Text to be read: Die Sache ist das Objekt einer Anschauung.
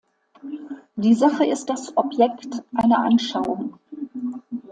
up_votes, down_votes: 2, 0